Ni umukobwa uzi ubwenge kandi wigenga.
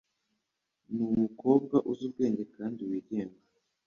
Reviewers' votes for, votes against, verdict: 2, 0, accepted